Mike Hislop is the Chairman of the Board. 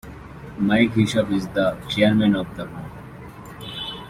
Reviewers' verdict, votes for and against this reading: rejected, 1, 2